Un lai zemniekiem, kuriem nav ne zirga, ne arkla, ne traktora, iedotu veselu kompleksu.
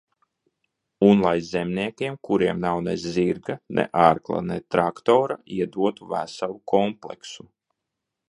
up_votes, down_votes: 2, 0